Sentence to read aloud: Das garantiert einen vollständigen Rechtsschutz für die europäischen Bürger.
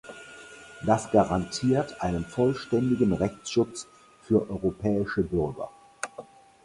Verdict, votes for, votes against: rejected, 0, 4